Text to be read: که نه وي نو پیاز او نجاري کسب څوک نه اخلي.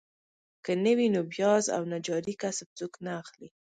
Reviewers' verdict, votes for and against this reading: accepted, 2, 1